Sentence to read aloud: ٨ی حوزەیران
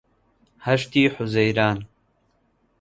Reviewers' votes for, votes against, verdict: 0, 2, rejected